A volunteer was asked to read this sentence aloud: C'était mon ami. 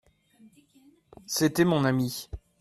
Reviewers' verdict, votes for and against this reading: accepted, 2, 0